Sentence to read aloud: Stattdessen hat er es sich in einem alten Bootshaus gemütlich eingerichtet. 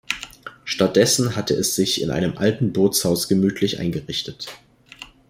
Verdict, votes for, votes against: rejected, 1, 2